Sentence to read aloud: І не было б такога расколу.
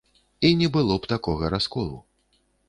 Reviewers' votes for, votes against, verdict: 2, 0, accepted